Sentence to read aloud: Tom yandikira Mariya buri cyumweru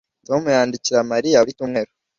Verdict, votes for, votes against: rejected, 1, 2